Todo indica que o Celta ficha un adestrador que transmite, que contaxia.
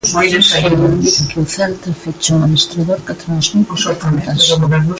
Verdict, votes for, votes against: rejected, 0, 2